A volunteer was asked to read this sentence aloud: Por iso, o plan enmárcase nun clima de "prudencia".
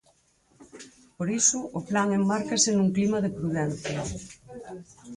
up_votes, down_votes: 2, 4